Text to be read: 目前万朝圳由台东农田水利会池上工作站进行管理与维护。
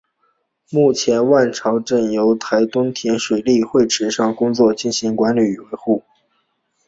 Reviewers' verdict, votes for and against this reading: accepted, 6, 0